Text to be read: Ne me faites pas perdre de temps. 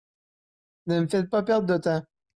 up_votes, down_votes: 1, 2